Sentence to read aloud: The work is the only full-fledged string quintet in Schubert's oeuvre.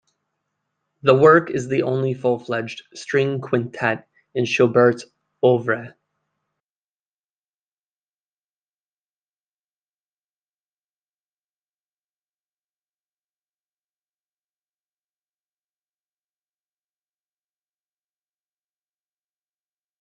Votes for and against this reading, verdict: 1, 2, rejected